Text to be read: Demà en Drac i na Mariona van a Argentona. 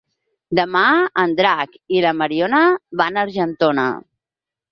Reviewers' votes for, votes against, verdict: 4, 2, accepted